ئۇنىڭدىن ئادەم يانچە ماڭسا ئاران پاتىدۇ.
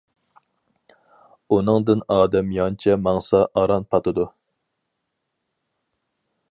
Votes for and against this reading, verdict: 4, 0, accepted